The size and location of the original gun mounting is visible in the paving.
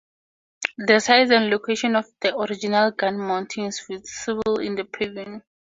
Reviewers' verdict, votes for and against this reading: accepted, 2, 0